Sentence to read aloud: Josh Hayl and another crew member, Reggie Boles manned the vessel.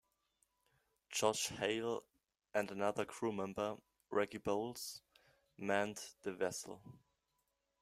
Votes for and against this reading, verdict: 2, 0, accepted